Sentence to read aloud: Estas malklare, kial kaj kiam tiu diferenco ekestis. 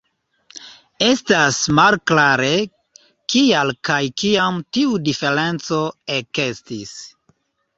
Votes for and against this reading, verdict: 2, 0, accepted